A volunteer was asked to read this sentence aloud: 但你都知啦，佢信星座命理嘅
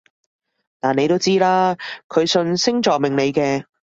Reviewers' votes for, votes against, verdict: 2, 0, accepted